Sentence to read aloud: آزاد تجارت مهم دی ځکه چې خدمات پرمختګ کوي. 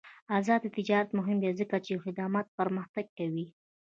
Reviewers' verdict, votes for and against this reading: rejected, 1, 2